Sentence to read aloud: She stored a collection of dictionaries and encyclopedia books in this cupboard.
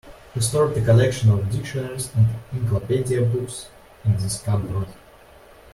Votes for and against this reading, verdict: 0, 2, rejected